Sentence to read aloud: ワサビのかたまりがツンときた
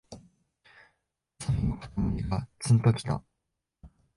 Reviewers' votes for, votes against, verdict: 1, 2, rejected